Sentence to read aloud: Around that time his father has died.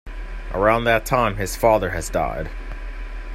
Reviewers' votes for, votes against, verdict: 2, 0, accepted